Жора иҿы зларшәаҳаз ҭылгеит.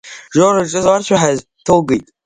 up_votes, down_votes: 0, 2